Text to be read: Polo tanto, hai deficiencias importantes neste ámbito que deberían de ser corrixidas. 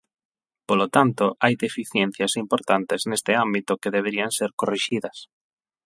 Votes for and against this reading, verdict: 4, 8, rejected